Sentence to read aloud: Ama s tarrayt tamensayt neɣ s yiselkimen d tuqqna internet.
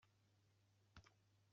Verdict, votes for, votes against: rejected, 0, 2